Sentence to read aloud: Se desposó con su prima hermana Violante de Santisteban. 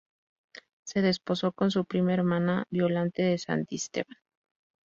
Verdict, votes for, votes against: accepted, 4, 0